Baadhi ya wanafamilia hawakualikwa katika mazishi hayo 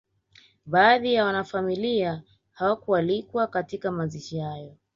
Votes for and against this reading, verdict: 1, 2, rejected